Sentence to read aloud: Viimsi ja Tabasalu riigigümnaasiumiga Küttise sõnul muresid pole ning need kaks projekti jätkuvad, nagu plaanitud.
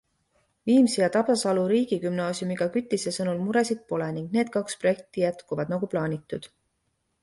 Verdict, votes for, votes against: accepted, 2, 0